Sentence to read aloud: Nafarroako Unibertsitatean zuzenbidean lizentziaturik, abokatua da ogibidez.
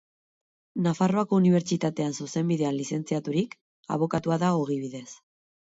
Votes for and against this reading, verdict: 4, 0, accepted